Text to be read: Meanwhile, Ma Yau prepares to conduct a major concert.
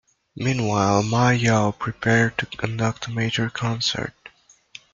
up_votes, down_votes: 1, 2